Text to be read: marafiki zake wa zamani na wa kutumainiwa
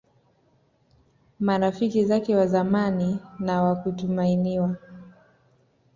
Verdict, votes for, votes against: rejected, 0, 2